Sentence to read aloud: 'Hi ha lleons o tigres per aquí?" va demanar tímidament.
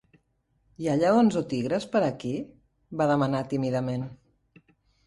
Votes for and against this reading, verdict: 2, 0, accepted